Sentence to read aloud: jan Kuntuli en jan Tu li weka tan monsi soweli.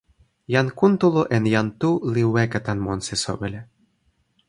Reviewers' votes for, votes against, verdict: 1, 2, rejected